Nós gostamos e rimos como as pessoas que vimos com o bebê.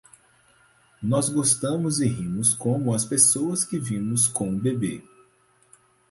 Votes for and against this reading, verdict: 4, 0, accepted